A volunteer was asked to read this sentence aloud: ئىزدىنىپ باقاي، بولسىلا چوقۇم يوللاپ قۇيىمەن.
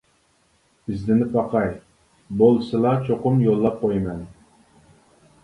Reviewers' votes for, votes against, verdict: 2, 0, accepted